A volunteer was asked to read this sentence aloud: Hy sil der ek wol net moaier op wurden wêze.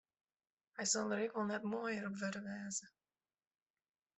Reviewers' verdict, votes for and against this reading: rejected, 0, 2